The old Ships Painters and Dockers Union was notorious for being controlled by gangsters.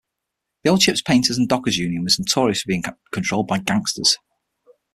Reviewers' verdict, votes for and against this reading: accepted, 6, 0